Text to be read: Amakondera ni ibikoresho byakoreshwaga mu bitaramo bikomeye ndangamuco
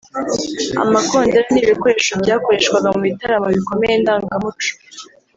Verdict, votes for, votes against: rejected, 1, 2